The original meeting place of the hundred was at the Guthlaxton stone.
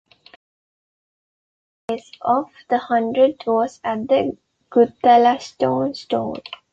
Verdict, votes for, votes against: rejected, 1, 2